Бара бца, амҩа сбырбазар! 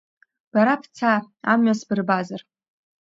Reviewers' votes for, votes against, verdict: 2, 0, accepted